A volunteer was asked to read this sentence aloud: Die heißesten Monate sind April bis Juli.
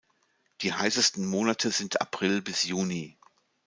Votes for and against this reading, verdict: 1, 2, rejected